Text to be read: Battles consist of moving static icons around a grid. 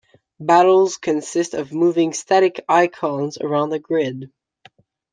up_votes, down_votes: 2, 0